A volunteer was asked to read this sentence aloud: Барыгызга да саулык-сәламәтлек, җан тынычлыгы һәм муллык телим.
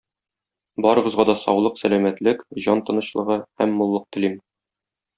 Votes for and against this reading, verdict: 2, 0, accepted